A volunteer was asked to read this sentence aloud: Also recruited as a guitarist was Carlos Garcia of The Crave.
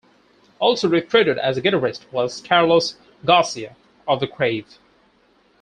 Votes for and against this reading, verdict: 4, 2, accepted